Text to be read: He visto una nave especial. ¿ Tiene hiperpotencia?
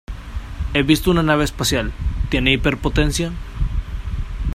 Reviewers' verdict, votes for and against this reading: rejected, 0, 2